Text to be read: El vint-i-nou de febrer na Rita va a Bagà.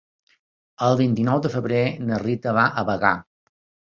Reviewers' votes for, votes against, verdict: 3, 0, accepted